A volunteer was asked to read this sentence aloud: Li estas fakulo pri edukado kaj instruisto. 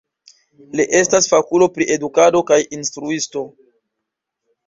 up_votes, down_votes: 0, 2